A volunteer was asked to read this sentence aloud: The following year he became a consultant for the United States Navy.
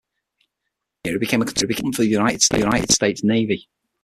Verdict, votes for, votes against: rejected, 0, 6